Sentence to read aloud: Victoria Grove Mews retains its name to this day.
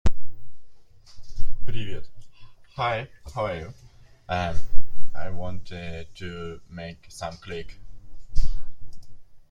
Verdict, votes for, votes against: rejected, 0, 2